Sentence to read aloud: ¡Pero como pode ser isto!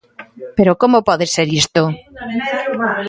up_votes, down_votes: 1, 2